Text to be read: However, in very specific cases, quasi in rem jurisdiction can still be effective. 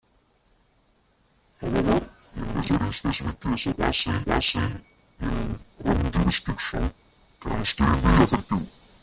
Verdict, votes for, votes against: rejected, 1, 2